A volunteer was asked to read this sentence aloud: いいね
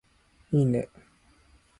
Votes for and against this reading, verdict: 2, 0, accepted